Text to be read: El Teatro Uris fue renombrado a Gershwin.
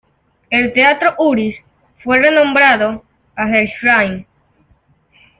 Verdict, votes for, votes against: rejected, 0, 2